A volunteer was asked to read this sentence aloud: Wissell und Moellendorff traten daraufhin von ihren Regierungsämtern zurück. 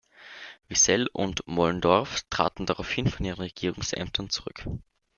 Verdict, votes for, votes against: accepted, 2, 0